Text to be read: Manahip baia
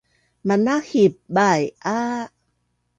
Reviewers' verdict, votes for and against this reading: accepted, 2, 0